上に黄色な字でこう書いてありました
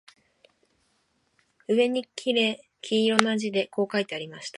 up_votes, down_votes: 1, 3